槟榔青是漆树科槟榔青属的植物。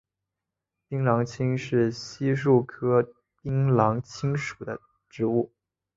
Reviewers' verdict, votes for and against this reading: accepted, 5, 1